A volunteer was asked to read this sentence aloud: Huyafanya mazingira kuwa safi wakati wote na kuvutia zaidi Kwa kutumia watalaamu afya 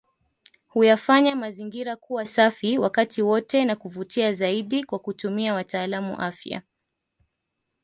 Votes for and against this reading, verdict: 2, 0, accepted